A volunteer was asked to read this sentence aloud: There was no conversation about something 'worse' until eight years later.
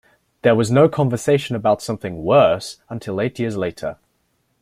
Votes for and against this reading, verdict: 2, 0, accepted